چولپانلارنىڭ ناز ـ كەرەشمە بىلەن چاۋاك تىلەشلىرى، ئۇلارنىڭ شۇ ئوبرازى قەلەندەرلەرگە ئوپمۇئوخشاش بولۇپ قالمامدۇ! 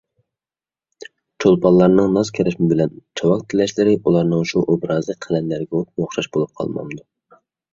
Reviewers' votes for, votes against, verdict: 1, 2, rejected